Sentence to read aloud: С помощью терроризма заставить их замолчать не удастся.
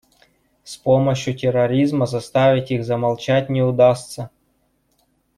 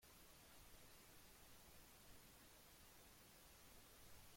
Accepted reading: first